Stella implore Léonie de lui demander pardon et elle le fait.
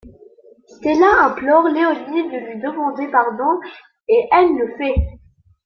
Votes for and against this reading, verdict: 2, 0, accepted